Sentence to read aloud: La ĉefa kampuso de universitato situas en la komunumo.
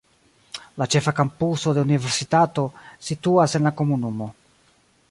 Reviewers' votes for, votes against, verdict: 1, 2, rejected